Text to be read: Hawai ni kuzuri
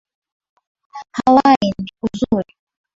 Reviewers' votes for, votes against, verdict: 2, 0, accepted